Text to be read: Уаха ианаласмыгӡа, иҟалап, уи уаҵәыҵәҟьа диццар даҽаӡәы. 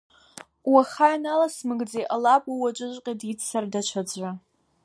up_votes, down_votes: 2, 0